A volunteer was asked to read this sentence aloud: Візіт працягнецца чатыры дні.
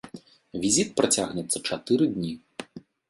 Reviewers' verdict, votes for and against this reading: accepted, 2, 0